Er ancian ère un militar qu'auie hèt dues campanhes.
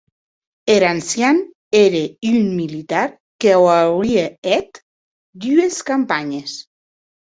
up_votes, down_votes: 2, 2